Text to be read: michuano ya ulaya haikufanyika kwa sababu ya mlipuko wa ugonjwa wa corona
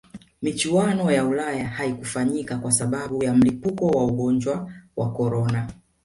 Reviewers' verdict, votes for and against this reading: rejected, 1, 2